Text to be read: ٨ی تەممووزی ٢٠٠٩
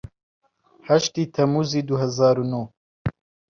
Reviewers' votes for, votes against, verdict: 0, 2, rejected